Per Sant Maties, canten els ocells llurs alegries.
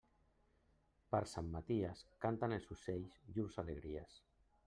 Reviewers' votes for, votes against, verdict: 1, 2, rejected